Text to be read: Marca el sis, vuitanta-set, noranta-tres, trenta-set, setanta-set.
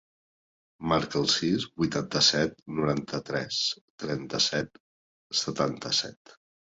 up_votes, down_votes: 2, 0